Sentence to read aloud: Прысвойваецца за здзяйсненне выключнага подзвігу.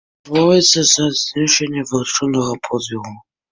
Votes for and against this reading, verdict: 1, 2, rejected